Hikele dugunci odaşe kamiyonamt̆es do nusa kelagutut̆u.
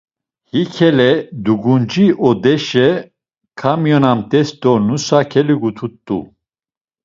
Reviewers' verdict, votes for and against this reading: rejected, 0, 2